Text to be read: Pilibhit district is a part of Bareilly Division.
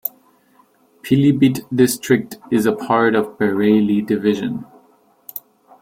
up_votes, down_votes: 2, 0